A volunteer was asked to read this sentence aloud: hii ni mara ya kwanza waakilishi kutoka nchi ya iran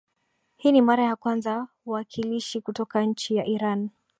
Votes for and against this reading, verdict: 4, 0, accepted